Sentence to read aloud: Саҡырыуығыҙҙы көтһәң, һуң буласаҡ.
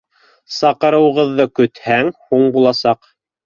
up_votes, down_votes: 2, 0